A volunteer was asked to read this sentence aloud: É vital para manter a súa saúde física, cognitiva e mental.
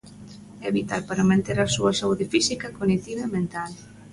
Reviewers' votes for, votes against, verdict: 2, 0, accepted